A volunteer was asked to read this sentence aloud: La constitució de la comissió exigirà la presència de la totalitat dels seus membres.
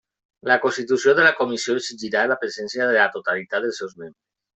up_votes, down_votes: 1, 2